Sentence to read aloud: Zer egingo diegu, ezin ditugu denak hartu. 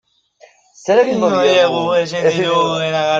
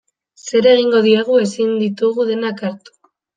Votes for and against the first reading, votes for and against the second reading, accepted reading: 0, 2, 3, 0, second